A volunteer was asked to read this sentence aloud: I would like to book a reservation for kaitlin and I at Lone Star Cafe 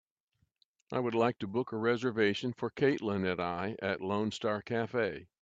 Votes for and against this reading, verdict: 2, 0, accepted